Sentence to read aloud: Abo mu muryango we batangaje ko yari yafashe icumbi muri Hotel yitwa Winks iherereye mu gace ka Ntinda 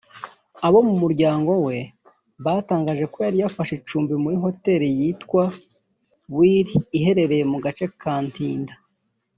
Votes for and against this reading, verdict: 1, 2, rejected